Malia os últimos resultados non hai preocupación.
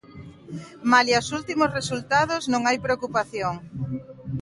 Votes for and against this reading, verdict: 2, 0, accepted